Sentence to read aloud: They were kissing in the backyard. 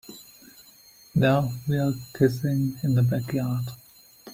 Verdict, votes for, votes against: rejected, 1, 2